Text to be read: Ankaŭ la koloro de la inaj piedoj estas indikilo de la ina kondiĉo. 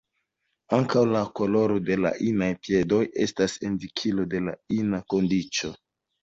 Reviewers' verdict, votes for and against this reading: rejected, 0, 2